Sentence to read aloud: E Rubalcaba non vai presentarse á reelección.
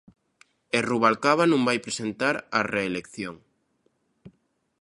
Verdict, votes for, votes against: rejected, 0, 2